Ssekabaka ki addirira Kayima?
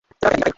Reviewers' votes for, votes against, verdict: 0, 2, rejected